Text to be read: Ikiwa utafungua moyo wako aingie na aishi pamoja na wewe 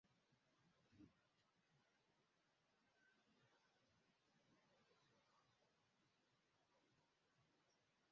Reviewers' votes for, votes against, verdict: 0, 2, rejected